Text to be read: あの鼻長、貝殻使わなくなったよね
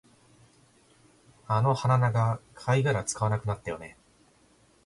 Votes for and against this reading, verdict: 2, 0, accepted